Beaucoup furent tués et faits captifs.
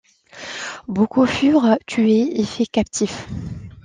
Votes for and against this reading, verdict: 2, 0, accepted